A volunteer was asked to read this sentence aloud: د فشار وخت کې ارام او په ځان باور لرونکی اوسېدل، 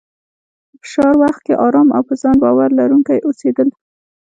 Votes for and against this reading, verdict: 1, 2, rejected